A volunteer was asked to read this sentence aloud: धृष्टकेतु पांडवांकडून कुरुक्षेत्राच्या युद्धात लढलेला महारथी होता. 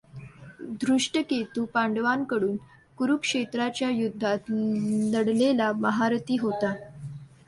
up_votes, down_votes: 0, 2